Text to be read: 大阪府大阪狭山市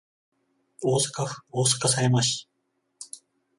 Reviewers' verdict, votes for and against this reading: accepted, 14, 0